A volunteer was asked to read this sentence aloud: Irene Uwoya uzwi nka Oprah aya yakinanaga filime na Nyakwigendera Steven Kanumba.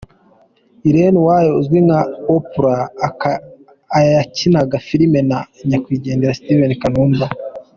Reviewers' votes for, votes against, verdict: 1, 2, rejected